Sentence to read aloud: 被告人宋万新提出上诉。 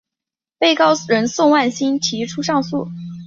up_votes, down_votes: 5, 1